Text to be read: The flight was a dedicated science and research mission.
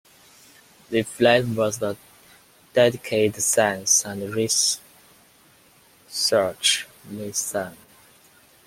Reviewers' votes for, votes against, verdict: 1, 2, rejected